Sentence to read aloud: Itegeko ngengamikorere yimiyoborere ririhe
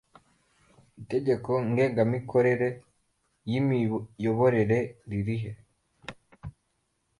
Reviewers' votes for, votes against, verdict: 2, 1, accepted